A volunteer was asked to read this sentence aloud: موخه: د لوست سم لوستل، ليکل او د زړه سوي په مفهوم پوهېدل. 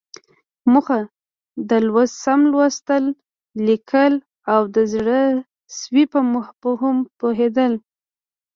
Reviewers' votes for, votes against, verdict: 0, 2, rejected